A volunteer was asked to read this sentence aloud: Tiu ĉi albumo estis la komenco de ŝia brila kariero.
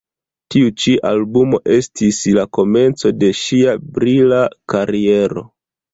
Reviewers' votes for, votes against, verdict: 1, 2, rejected